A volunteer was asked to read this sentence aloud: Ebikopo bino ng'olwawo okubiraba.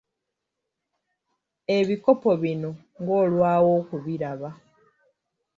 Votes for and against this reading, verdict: 3, 0, accepted